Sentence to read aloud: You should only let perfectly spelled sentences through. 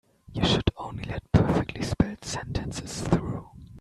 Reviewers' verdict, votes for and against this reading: rejected, 1, 2